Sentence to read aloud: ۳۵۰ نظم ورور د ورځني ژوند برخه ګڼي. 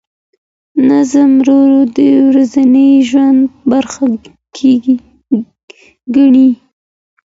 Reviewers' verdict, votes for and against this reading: rejected, 0, 2